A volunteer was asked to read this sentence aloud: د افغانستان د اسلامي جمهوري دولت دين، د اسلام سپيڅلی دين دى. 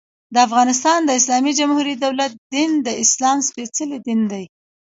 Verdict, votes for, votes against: rejected, 0, 2